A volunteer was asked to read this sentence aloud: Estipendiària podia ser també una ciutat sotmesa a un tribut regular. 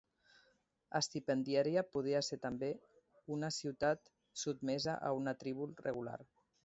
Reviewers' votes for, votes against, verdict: 0, 2, rejected